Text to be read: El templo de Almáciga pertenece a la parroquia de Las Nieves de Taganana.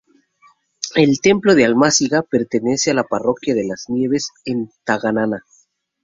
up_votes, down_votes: 0, 2